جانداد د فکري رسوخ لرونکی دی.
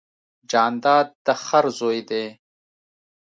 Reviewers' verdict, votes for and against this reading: rejected, 1, 2